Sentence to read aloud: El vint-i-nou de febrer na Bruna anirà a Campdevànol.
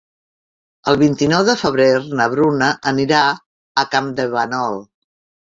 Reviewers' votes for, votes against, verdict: 0, 2, rejected